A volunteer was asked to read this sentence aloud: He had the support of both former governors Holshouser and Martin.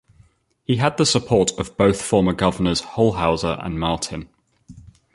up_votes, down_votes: 2, 0